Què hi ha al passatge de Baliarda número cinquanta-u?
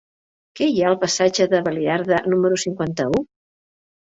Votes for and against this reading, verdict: 2, 0, accepted